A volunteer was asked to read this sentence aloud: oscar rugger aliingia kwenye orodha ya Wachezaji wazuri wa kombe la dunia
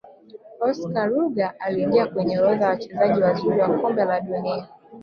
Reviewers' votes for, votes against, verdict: 2, 3, rejected